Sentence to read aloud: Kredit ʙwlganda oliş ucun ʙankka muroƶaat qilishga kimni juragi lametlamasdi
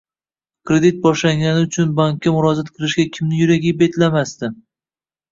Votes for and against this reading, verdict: 1, 2, rejected